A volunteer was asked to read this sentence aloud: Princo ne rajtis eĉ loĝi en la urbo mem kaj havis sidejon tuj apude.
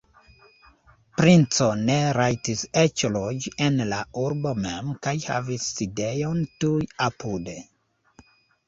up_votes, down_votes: 2, 0